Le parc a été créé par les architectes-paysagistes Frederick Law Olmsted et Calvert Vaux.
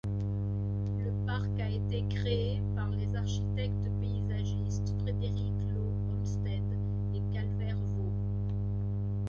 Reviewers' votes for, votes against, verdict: 2, 0, accepted